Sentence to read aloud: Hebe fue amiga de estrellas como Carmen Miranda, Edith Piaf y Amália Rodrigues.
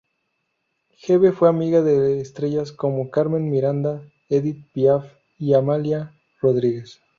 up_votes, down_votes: 2, 0